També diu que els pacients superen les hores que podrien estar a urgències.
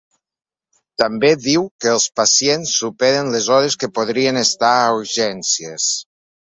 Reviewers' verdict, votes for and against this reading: accepted, 2, 0